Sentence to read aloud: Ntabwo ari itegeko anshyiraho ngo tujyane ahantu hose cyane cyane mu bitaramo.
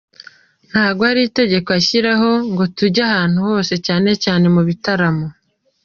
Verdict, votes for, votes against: rejected, 0, 2